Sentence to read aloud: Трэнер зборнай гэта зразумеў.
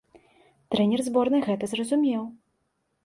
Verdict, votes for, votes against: accepted, 2, 0